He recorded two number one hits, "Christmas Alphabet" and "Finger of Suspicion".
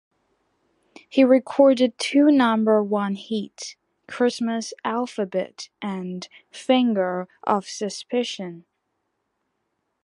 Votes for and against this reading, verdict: 3, 1, accepted